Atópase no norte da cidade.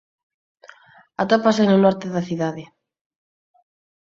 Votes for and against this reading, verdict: 4, 0, accepted